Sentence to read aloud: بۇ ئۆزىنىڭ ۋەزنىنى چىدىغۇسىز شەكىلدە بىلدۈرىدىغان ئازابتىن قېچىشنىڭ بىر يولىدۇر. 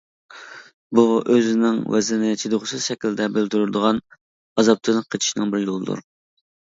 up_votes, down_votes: 0, 2